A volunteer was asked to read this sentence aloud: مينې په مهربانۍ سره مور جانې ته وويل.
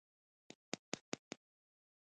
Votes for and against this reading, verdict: 0, 2, rejected